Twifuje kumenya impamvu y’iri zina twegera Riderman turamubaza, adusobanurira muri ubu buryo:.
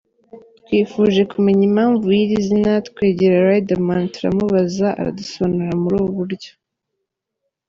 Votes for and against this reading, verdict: 0, 2, rejected